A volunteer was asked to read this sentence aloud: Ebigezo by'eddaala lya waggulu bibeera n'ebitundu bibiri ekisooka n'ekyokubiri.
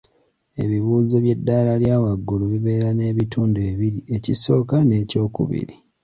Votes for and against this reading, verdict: 2, 3, rejected